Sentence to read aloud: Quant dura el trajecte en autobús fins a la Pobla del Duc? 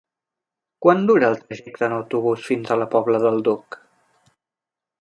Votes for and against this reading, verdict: 1, 2, rejected